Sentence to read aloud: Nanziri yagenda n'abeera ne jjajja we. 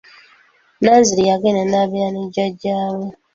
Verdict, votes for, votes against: accepted, 2, 0